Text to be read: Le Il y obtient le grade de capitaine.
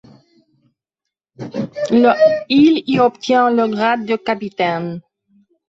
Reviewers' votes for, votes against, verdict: 2, 1, accepted